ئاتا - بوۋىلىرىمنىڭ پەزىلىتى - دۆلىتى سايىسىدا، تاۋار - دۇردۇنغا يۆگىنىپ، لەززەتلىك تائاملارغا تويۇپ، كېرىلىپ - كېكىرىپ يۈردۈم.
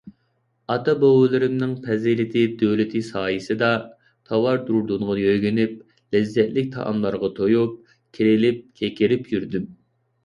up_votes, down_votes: 2, 0